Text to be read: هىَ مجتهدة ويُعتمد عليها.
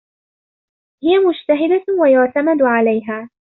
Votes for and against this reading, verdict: 2, 0, accepted